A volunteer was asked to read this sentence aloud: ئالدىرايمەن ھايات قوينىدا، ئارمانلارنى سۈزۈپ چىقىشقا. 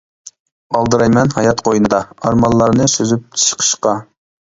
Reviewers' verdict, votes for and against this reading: accepted, 2, 0